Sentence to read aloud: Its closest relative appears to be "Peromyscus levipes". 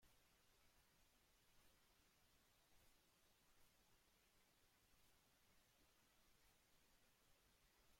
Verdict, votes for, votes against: rejected, 0, 2